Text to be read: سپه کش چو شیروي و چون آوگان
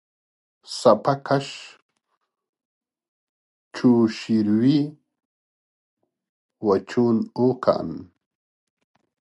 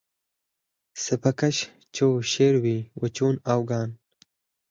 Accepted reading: second